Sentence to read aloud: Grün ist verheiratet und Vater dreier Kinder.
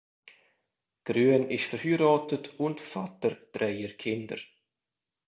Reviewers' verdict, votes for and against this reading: accepted, 2, 1